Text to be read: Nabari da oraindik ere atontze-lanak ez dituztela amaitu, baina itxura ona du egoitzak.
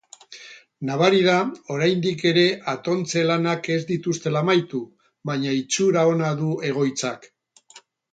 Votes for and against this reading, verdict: 2, 0, accepted